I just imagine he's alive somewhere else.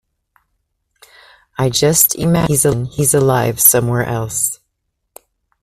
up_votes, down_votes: 0, 2